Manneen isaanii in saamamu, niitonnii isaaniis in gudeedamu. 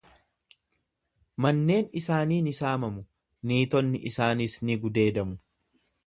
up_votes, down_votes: 1, 2